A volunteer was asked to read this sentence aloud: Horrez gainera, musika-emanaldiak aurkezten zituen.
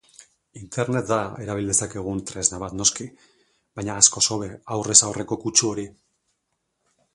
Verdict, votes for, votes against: rejected, 0, 2